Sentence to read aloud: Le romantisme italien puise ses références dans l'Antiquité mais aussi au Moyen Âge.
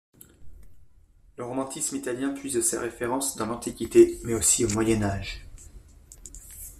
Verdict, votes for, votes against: accepted, 2, 0